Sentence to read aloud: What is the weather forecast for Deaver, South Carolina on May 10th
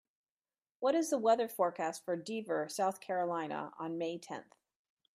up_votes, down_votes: 0, 2